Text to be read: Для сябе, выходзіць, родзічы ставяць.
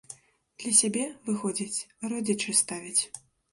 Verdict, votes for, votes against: rejected, 1, 2